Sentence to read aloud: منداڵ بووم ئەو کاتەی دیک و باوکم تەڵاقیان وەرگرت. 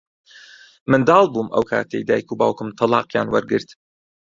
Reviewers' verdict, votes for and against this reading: rejected, 0, 2